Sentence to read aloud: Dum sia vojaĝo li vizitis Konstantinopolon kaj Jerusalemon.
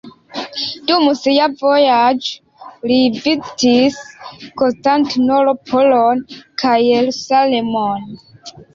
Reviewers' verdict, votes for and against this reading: rejected, 0, 2